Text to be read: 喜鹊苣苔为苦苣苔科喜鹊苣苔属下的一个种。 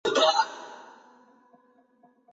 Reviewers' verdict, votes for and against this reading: rejected, 1, 2